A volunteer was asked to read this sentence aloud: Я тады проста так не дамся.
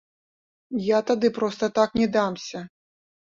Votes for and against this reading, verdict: 1, 2, rejected